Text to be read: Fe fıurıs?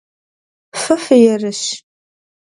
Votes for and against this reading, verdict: 1, 2, rejected